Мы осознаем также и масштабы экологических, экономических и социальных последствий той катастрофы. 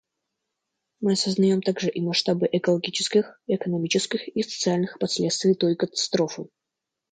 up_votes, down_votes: 2, 0